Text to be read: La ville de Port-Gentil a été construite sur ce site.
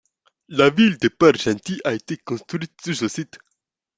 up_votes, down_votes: 2, 0